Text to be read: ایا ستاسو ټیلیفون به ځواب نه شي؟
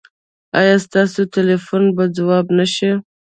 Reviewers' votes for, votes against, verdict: 0, 2, rejected